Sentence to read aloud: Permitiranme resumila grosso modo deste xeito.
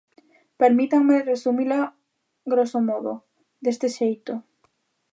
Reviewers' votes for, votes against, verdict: 0, 2, rejected